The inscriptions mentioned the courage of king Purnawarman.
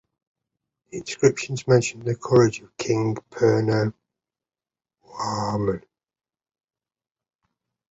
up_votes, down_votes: 0, 2